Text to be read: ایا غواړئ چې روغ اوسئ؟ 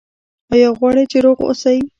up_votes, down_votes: 0, 2